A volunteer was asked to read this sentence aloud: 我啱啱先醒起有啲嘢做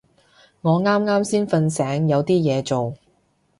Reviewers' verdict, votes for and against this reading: rejected, 0, 2